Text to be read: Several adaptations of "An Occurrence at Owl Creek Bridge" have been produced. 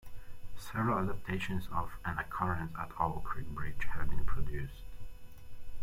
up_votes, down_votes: 2, 1